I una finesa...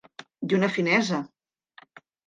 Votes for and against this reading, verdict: 2, 0, accepted